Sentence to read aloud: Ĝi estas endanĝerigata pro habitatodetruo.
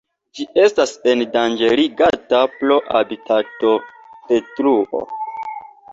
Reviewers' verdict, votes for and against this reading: accepted, 2, 0